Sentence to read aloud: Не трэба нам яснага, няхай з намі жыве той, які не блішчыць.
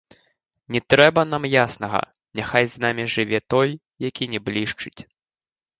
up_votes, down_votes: 2, 0